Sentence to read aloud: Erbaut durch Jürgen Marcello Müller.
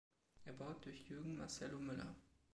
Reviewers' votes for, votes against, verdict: 1, 2, rejected